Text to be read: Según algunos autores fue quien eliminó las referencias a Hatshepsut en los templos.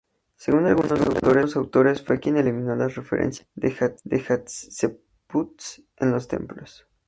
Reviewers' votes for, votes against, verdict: 0, 2, rejected